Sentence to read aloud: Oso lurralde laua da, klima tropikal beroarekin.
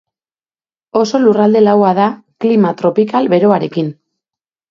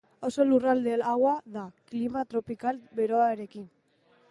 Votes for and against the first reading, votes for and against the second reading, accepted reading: 2, 0, 1, 2, first